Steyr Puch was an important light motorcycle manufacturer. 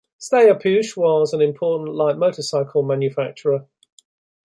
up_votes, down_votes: 2, 0